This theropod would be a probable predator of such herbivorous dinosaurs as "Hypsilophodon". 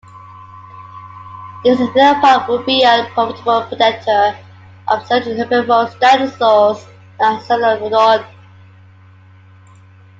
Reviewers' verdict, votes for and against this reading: rejected, 1, 2